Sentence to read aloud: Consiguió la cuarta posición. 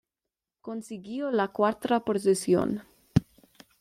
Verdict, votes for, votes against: accepted, 2, 0